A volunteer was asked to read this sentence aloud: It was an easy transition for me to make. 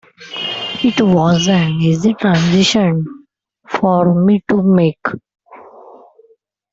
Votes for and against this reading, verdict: 1, 2, rejected